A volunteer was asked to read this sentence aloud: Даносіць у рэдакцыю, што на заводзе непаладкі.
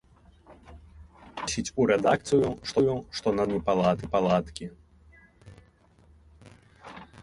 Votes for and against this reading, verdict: 1, 2, rejected